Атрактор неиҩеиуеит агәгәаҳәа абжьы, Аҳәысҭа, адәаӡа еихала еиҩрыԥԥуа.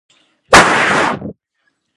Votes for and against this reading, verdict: 1, 2, rejected